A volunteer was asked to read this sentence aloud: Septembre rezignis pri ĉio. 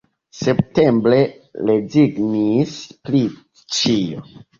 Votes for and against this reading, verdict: 1, 2, rejected